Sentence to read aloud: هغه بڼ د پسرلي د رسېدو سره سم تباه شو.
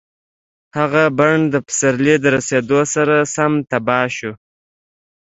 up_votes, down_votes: 2, 0